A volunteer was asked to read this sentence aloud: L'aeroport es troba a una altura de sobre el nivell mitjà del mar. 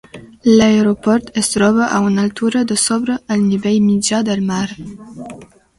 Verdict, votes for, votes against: accepted, 2, 0